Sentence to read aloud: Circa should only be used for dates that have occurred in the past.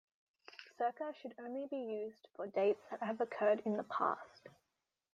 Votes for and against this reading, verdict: 2, 1, accepted